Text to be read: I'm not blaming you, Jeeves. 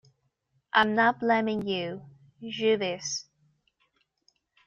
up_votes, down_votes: 2, 1